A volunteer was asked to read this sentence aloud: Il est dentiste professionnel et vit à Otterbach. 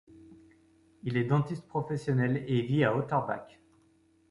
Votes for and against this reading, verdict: 2, 0, accepted